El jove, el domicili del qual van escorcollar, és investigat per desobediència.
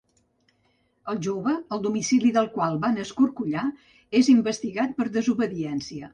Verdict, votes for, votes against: accepted, 3, 0